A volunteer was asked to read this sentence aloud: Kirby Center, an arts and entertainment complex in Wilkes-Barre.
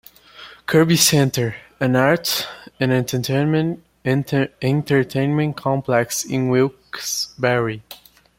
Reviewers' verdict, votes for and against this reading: rejected, 0, 2